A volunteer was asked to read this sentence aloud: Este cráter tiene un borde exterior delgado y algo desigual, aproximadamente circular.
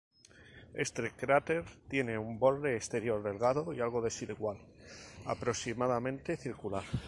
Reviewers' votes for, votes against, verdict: 2, 0, accepted